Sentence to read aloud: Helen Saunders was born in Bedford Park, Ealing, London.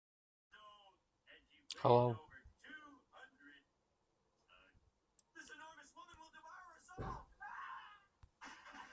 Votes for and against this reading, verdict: 0, 2, rejected